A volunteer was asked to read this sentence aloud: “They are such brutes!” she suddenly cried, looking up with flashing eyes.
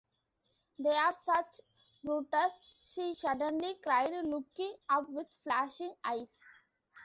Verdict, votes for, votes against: rejected, 0, 2